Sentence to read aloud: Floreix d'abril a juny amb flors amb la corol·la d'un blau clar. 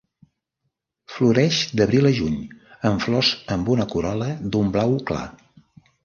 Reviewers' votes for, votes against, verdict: 0, 2, rejected